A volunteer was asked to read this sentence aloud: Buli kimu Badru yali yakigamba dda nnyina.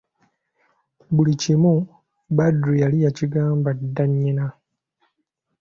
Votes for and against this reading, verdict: 2, 0, accepted